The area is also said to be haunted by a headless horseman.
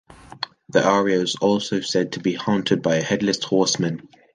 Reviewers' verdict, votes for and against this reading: accepted, 2, 0